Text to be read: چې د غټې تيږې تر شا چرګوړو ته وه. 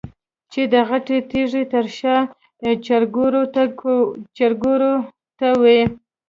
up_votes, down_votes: 1, 2